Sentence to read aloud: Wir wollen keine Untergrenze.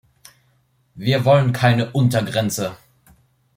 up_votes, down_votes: 2, 0